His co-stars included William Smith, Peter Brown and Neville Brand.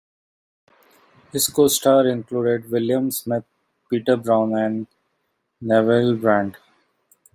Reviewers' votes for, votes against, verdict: 1, 2, rejected